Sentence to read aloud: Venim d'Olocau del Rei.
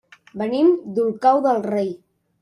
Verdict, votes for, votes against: rejected, 1, 2